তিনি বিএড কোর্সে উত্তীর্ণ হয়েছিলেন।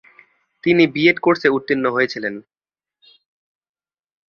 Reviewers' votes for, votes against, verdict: 3, 0, accepted